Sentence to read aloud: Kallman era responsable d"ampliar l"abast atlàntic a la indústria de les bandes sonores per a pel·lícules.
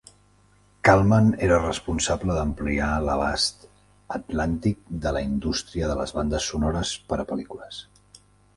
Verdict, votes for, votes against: rejected, 1, 2